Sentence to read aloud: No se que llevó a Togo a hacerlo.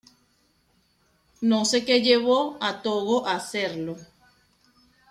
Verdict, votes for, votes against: accepted, 2, 0